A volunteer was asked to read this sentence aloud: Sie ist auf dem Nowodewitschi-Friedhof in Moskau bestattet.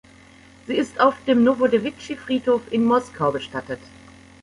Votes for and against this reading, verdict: 2, 0, accepted